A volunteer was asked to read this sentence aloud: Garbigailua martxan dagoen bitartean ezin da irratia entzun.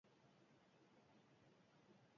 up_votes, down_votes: 2, 2